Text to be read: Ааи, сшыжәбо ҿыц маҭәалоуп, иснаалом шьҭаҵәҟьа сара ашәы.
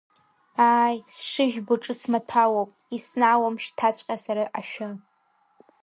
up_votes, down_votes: 1, 2